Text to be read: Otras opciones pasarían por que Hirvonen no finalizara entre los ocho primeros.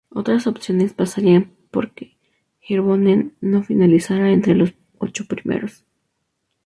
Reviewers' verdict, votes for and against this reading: rejected, 0, 2